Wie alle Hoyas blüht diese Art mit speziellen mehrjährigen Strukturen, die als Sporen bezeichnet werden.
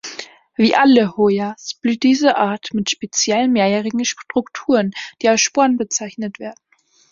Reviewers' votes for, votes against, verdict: 3, 0, accepted